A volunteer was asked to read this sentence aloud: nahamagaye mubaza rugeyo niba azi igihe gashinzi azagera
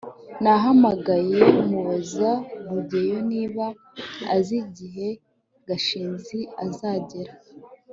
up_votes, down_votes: 1, 2